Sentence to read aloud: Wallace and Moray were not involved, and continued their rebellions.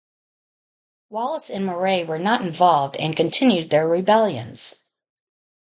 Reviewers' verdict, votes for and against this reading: rejected, 2, 2